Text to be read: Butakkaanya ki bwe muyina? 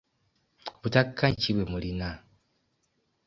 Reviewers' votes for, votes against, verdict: 2, 1, accepted